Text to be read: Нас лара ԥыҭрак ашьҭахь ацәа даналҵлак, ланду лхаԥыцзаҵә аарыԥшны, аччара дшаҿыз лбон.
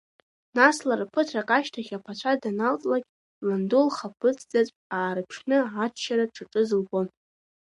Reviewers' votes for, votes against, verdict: 2, 1, accepted